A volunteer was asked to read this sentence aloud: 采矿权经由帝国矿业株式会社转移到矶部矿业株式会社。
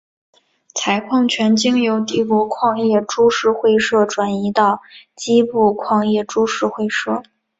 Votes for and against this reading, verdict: 2, 0, accepted